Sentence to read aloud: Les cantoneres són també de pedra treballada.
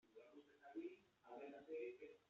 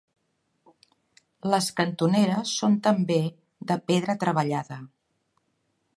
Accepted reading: second